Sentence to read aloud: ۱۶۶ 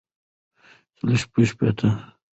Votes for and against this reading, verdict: 0, 2, rejected